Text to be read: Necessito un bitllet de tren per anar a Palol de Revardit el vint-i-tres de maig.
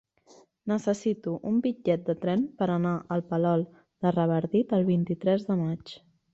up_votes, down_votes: 1, 2